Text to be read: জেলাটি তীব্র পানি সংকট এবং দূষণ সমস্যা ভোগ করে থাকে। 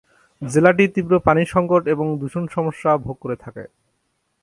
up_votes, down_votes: 4, 0